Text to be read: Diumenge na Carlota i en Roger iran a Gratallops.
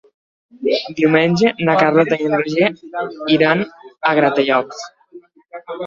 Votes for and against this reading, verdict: 3, 1, accepted